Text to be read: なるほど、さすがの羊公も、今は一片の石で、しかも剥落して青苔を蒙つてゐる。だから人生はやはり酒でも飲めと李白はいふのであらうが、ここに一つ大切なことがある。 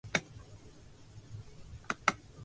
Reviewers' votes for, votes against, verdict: 0, 2, rejected